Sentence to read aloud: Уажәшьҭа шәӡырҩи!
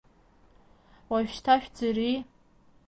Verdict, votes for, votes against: accepted, 2, 1